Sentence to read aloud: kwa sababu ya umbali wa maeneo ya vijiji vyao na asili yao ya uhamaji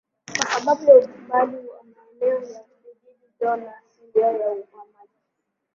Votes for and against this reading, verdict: 0, 2, rejected